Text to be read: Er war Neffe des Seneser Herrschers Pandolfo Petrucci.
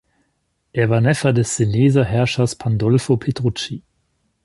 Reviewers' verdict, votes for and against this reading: accepted, 2, 0